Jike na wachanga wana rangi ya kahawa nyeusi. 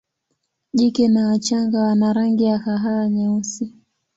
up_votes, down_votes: 1, 2